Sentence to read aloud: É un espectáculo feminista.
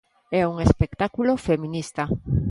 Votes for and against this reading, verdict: 2, 0, accepted